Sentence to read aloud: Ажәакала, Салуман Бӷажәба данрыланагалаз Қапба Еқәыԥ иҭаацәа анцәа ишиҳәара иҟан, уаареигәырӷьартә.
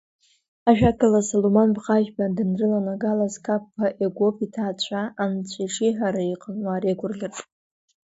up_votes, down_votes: 1, 2